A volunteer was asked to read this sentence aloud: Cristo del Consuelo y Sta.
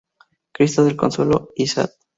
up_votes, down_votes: 2, 2